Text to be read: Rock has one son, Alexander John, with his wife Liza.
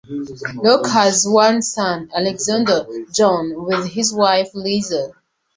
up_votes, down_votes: 2, 0